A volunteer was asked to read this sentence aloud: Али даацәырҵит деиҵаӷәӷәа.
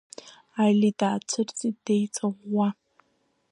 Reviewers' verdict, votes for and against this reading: accepted, 2, 1